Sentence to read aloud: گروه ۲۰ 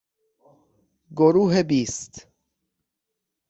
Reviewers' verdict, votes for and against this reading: rejected, 0, 2